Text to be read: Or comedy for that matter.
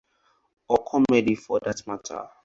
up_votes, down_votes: 4, 0